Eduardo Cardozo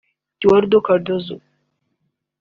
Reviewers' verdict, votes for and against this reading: accepted, 2, 0